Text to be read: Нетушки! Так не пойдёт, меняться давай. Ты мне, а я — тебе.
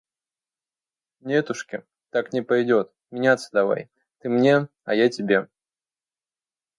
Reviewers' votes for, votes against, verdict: 2, 0, accepted